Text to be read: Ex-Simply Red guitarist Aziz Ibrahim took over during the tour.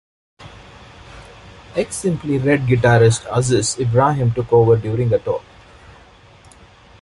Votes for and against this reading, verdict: 2, 0, accepted